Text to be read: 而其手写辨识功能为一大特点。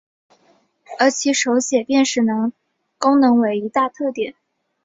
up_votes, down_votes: 2, 2